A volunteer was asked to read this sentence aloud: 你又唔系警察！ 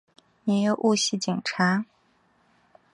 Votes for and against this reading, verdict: 7, 0, accepted